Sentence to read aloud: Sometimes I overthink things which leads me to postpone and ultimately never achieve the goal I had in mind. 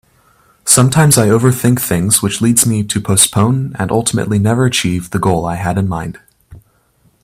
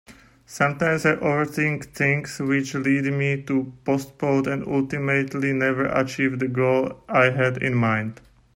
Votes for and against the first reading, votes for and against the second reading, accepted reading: 4, 0, 1, 2, first